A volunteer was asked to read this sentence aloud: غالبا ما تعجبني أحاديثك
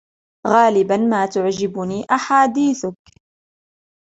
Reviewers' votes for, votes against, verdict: 1, 2, rejected